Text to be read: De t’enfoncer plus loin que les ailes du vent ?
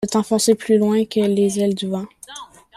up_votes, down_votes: 2, 1